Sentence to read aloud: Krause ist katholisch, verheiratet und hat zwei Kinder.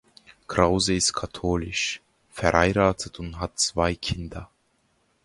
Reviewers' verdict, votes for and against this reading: accepted, 2, 0